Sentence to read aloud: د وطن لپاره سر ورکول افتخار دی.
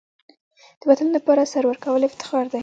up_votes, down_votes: 2, 0